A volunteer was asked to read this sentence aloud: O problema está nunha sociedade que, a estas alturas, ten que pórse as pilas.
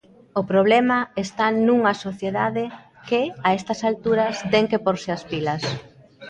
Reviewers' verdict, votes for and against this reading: rejected, 1, 2